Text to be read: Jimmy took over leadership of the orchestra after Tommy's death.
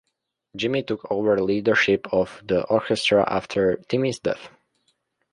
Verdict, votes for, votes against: rejected, 0, 2